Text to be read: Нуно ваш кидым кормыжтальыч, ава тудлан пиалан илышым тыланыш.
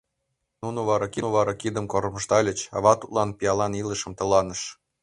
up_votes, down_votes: 1, 2